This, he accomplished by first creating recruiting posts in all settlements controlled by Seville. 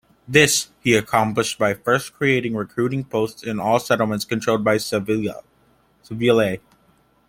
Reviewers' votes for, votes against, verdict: 1, 2, rejected